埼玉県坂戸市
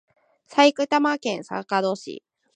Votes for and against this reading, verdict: 0, 2, rejected